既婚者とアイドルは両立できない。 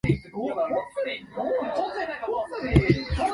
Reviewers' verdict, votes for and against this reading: rejected, 0, 2